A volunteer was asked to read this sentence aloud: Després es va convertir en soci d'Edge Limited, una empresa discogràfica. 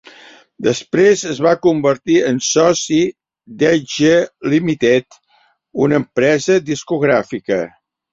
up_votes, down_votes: 4, 0